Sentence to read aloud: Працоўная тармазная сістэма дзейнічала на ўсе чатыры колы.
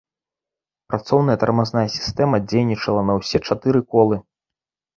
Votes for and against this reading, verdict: 2, 0, accepted